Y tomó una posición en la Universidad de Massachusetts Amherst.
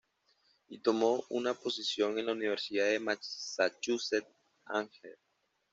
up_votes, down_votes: 1, 2